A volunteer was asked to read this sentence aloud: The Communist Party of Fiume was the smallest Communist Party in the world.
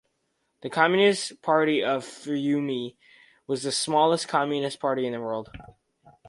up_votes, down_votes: 2, 2